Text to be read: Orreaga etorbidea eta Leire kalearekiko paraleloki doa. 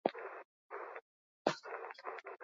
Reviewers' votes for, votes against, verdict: 0, 4, rejected